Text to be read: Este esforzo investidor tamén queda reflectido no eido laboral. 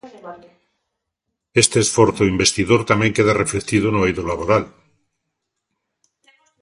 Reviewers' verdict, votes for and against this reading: accepted, 2, 0